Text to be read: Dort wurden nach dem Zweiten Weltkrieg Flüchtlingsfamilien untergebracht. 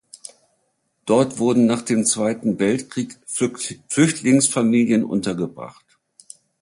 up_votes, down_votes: 1, 2